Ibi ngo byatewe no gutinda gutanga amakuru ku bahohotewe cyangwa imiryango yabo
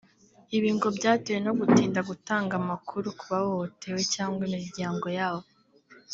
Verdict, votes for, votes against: rejected, 0, 2